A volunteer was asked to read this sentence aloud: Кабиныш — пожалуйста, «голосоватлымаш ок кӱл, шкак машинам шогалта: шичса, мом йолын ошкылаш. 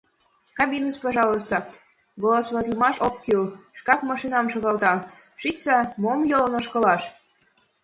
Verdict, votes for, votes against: accepted, 2, 0